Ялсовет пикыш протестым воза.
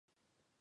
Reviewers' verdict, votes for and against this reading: rejected, 1, 2